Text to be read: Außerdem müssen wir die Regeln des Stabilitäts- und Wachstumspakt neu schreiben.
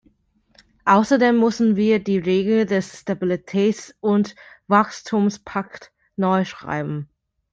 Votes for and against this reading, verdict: 0, 2, rejected